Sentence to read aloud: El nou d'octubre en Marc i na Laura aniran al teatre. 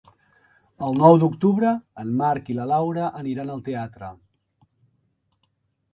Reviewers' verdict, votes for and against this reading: rejected, 1, 3